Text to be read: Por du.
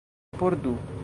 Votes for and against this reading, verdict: 1, 2, rejected